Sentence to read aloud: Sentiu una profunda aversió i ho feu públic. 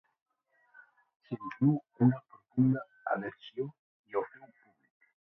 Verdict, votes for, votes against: rejected, 0, 2